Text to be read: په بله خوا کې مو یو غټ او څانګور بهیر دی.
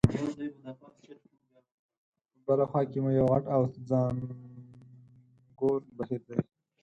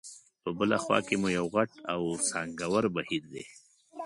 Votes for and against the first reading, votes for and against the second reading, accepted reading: 2, 4, 3, 0, second